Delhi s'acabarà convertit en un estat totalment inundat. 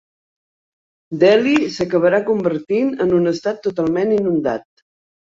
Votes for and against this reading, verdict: 0, 2, rejected